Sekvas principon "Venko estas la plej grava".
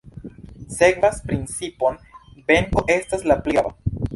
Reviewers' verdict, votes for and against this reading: rejected, 1, 2